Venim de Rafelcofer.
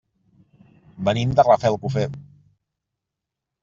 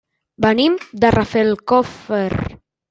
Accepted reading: first